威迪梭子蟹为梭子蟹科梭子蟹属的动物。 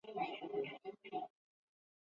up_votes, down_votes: 1, 2